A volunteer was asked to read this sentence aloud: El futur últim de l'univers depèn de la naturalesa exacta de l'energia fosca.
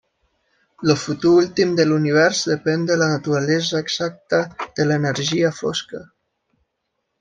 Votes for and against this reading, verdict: 3, 0, accepted